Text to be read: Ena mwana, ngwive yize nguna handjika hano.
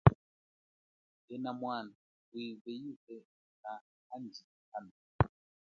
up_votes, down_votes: 1, 2